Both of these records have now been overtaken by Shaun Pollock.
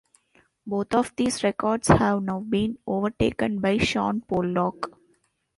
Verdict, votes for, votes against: rejected, 1, 2